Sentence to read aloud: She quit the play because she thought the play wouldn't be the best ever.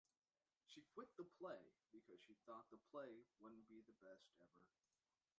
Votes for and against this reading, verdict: 1, 2, rejected